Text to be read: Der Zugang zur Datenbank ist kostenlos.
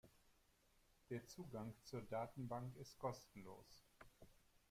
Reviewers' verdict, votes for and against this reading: accepted, 2, 0